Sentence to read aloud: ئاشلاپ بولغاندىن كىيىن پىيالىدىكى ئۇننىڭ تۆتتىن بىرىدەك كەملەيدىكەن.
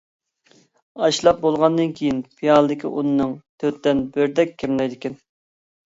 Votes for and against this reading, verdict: 1, 2, rejected